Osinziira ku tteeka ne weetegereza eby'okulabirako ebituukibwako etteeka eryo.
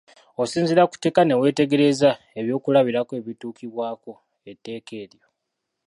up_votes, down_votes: 1, 2